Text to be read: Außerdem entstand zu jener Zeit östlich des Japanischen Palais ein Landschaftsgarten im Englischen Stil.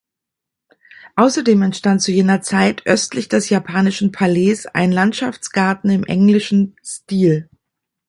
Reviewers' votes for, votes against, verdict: 2, 0, accepted